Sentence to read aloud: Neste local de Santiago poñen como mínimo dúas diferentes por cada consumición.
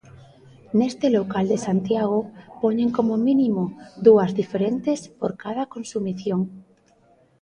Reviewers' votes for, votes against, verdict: 3, 0, accepted